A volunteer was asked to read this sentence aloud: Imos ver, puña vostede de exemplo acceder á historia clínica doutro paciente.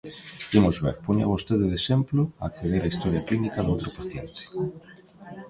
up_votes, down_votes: 0, 2